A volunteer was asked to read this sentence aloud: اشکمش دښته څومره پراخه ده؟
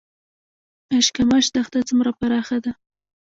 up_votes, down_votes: 0, 2